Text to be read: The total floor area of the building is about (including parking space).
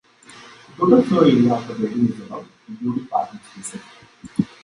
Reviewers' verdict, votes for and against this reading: rejected, 0, 3